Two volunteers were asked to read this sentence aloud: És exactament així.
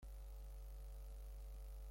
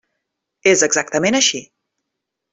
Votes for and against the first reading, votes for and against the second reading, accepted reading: 0, 2, 3, 0, second